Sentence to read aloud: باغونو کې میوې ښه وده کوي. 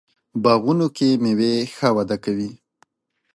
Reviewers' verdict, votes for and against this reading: accepted, 2, 0